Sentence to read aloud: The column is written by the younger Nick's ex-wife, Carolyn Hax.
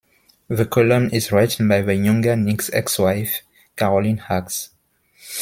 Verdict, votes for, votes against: accepted, 2, 1